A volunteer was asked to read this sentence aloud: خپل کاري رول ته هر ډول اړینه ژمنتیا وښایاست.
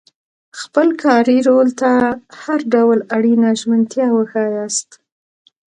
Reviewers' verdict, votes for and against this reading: accepted, 2, 0